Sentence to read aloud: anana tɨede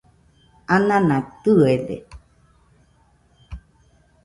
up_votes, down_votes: 2, 0